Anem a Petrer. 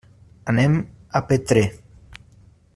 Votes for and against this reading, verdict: 2, 0, accepted